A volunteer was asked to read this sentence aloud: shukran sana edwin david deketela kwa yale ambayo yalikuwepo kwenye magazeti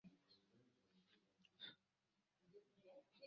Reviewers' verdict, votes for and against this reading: rejected, 0, 2